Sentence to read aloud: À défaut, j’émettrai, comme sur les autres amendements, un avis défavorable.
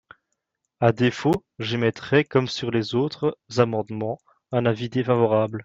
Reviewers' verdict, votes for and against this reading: rejected, 1, 2